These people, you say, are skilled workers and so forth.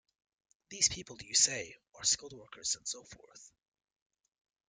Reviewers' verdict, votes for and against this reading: accepted, 2, 0